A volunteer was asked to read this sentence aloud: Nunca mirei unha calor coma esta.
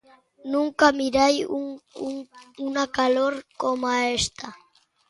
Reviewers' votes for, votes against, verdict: 1, 2, rejected